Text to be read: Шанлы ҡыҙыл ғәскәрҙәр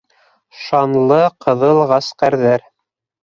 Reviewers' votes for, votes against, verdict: 4, 2, accepted